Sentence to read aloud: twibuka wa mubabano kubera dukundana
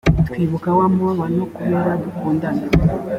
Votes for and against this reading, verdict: 2, 0, accepted